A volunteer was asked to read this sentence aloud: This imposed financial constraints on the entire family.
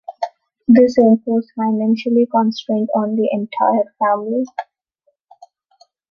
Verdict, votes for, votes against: rejected, 1, 2